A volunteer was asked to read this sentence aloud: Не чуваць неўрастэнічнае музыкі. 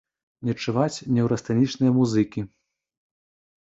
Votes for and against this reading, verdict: 1, 2, rejected